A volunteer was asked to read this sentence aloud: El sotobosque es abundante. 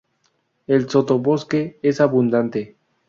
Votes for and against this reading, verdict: 4, 0, accepted